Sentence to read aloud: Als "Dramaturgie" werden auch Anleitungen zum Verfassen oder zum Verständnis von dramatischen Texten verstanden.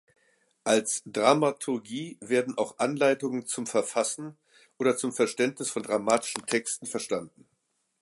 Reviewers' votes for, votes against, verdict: 2, 0, accepted